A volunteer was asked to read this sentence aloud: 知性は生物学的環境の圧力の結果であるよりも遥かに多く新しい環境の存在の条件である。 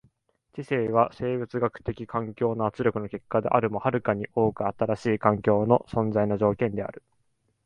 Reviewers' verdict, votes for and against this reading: accepted, 2, 1